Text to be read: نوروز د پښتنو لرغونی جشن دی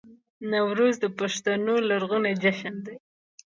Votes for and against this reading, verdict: 2, 0, accepted